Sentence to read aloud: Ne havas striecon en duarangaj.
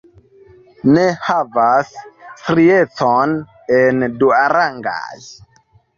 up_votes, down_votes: 1, 2